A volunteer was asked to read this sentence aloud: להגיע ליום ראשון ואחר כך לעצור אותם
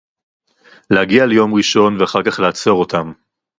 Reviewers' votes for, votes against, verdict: 4, 0, accepted